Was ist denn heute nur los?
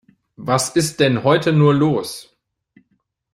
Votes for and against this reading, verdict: 2, 0, accepted